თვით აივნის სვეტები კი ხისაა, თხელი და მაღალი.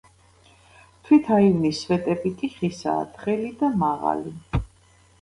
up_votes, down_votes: 2, 1